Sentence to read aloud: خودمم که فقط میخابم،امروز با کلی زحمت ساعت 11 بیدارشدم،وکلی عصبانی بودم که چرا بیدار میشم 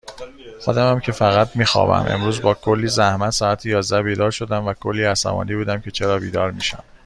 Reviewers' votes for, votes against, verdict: 0, 2, rejected